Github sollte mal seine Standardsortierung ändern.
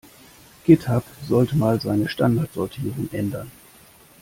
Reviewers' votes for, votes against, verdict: 2, 0, accepted